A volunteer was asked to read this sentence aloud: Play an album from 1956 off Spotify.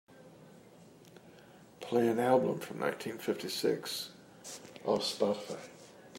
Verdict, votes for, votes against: rejected, 0, 2